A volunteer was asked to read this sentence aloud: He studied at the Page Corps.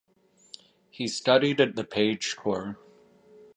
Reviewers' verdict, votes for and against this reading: accepted, 2, 0